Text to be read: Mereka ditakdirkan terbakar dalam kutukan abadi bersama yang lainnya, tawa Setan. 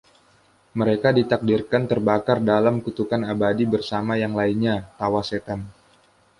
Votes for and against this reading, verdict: 2, 0, accepted